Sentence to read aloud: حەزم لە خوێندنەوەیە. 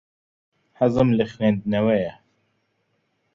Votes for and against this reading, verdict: 2, 0, accepted